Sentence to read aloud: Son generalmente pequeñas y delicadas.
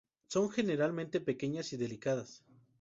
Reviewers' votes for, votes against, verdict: 2, 2, rejected